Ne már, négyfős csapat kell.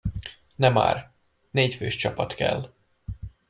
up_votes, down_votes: 2, 0